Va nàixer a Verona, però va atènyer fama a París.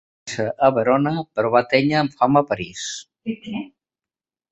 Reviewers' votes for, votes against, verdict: 0, 2, rejected